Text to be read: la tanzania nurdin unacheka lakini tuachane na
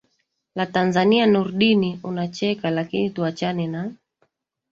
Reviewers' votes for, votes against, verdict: 1, 2, rejected